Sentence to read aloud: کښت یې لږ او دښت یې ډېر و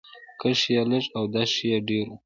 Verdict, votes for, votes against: rejected, 0, 2